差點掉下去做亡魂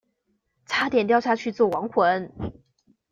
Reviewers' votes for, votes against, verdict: 2, 0, accepted